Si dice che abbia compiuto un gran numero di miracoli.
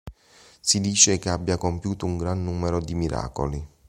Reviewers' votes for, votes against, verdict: 2, 0, accepted